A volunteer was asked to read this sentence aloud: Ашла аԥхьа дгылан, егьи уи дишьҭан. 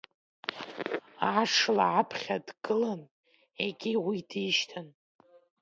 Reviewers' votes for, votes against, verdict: 2, 3, rejected